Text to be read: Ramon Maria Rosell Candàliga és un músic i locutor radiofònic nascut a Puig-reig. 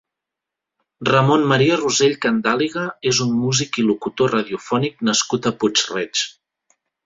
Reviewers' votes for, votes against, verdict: 2, 0, accepted